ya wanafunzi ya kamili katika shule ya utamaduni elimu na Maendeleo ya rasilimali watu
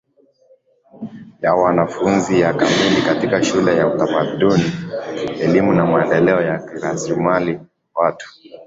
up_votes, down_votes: 3, 0